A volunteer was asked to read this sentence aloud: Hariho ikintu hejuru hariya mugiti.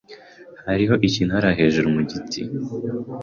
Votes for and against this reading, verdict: 0, 2, rejected